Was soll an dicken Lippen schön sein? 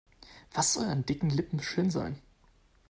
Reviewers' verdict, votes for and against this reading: accepted, 3, 1